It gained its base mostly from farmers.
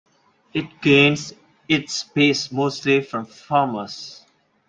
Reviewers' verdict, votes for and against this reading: rejected, 0, 2